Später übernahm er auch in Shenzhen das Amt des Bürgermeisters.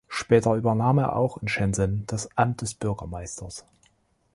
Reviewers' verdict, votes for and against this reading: rejected, 1, 2